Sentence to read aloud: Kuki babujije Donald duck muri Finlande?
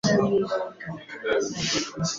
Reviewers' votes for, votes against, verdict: 2, 3, rejected